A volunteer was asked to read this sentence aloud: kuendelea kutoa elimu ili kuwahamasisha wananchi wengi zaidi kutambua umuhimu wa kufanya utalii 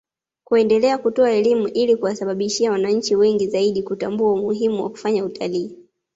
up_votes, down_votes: 2, 0